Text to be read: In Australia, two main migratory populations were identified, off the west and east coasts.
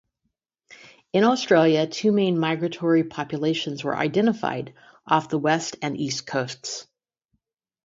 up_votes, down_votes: 2, 0